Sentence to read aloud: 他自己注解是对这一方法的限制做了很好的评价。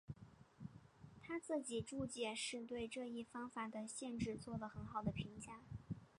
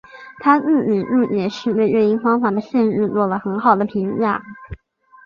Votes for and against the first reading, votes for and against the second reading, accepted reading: 2, 0, 0, 3, first